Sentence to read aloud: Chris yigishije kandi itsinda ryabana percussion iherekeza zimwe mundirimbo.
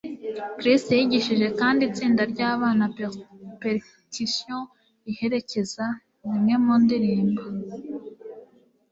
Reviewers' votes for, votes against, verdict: 1, 2, rejected